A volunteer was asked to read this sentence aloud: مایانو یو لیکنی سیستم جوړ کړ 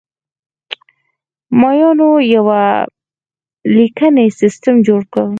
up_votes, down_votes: 2, 4